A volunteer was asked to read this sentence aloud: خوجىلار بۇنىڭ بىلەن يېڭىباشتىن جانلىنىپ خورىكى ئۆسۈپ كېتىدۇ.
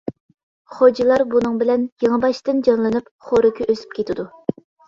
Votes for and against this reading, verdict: 2, 1, accepted